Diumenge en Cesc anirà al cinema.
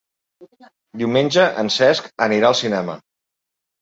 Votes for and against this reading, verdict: 3, 0, accepted